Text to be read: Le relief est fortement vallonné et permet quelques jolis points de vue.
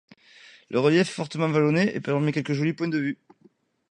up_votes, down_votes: 2, 1